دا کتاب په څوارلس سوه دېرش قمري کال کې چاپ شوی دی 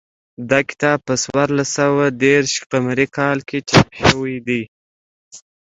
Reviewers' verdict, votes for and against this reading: accepted, 2, 0